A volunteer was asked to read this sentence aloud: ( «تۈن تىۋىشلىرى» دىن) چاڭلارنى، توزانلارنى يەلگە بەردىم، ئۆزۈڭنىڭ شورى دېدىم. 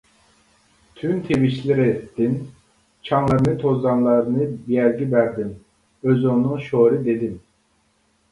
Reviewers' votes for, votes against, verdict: 0, 2, rejected